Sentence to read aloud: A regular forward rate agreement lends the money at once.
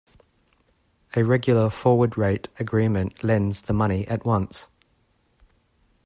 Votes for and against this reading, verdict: 2, 0, accepted